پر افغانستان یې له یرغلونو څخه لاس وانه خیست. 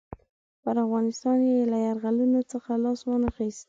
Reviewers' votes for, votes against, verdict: 2, 0, accepted